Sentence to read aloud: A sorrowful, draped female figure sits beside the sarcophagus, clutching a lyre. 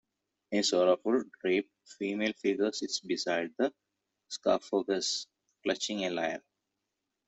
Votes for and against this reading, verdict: 1, 2, rejected